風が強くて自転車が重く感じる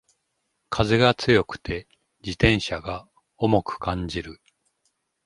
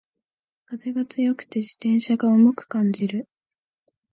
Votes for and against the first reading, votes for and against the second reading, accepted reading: 2, 0, 1, 2, first